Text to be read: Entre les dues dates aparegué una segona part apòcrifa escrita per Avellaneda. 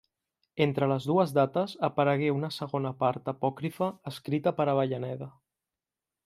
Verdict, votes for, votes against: accepted, 2, 0